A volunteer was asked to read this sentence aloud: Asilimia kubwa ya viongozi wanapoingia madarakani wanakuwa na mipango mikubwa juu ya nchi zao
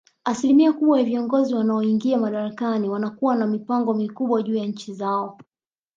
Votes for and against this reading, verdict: 1, 2, rejected